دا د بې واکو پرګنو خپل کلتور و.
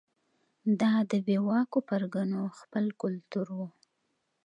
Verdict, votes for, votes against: accepted, 2, 0